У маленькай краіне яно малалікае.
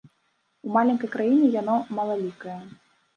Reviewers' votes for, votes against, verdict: 1, 2, rejected